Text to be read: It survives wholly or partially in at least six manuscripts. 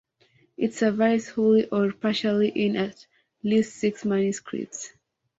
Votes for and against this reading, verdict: 2, 0, accepted